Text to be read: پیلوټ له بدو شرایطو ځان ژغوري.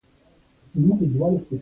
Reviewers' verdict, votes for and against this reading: rejected, 0, 2